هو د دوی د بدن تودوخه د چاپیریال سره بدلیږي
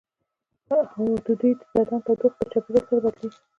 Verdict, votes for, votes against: rejected, 1, 2